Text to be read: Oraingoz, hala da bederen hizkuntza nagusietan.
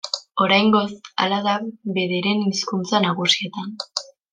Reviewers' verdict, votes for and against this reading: rejected, 1, 2